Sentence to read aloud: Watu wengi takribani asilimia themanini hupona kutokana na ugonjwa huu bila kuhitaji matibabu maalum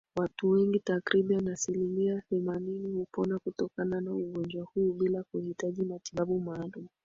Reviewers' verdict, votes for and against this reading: accepted, 2, 0